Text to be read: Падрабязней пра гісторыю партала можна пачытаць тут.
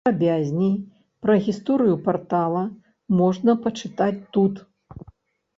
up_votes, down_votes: 0, 2